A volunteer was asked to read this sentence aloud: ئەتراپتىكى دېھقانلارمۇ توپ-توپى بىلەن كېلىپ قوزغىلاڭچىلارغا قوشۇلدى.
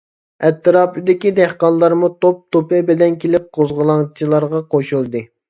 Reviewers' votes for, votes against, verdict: 0, 2, rejected